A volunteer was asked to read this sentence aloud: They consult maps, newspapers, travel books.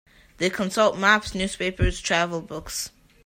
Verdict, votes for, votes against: accepted, 2, 0